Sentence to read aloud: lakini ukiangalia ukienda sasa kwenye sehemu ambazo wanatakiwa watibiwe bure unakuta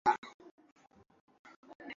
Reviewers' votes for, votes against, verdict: 0, 2, rejected